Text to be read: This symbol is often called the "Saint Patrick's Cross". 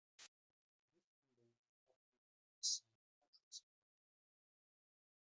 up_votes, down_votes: 0, 2